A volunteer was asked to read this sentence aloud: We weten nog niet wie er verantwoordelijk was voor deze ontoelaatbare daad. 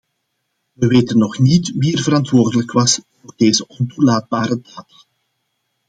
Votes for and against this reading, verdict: 2, 1, accepted